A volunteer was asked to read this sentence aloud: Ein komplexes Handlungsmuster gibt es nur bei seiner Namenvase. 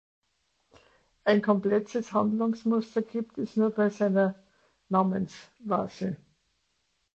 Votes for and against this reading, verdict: 0, 2, rejected